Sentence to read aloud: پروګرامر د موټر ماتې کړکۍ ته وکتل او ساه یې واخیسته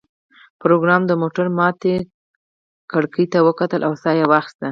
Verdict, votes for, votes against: rejected, 2, 4